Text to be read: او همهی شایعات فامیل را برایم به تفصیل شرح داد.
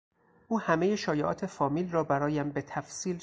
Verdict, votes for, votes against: rejected, 0, 4